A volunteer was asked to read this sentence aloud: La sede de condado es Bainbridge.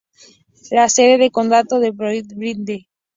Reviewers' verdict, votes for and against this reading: rejected, 0, 2